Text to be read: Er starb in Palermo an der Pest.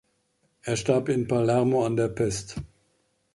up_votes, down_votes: 2, 0